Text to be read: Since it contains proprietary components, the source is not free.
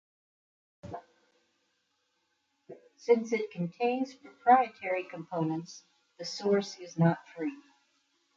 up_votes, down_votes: 2, 0